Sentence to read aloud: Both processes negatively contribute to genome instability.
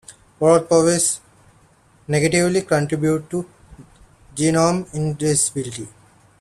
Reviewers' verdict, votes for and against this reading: rejected, 0, 2